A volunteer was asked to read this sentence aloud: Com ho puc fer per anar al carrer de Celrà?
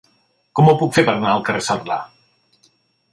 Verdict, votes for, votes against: rejected, 1, 2